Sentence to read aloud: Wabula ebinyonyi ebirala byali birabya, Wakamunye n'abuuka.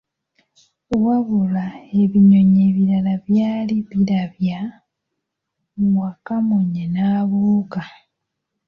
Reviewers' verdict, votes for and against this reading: rejected, 1, 2